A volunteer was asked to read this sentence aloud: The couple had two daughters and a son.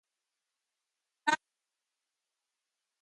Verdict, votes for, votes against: rejected, 0, 2